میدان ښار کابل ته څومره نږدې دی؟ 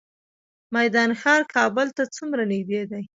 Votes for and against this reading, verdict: 2, 1, accepted